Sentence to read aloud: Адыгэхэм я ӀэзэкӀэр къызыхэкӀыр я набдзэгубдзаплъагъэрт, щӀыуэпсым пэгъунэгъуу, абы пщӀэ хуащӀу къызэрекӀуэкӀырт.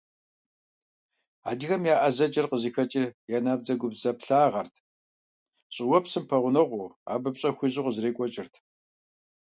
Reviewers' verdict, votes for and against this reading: accepted, 2, 1